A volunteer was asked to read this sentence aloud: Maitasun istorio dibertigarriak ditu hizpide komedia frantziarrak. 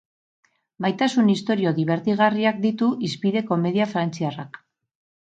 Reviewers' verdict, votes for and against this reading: rejected, 2, 2